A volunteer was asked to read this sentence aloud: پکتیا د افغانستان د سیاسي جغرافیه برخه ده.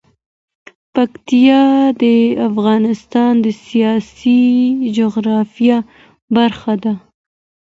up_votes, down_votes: 2, 0